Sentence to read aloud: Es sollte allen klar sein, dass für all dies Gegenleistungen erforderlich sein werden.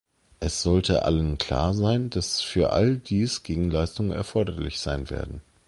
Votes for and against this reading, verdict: 2, 0, accepted